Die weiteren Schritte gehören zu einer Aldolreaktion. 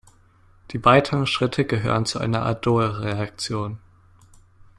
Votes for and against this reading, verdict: 2, 0, accepted